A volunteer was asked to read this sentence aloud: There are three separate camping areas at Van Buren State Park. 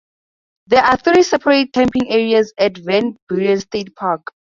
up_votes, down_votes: 0, 2